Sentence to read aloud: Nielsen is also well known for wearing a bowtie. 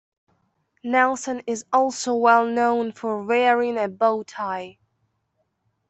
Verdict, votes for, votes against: rejected, 0, 2